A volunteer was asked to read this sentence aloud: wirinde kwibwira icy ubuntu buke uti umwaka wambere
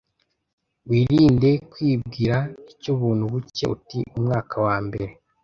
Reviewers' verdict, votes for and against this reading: rejected, 0, 2